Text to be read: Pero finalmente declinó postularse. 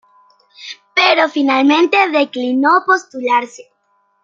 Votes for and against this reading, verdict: 2, 0, accepted